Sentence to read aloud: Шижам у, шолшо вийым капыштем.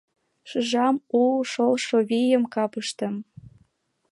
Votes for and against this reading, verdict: 2, 0, accepted